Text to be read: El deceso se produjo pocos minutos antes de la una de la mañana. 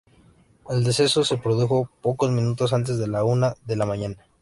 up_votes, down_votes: 2, 0